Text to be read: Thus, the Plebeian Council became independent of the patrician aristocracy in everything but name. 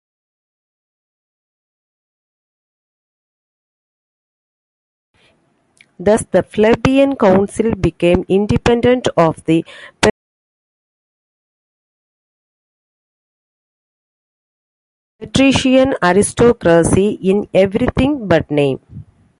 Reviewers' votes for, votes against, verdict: 0, 2, rejected